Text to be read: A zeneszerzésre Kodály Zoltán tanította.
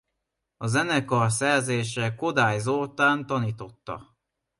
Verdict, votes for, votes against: rejected, 0, 2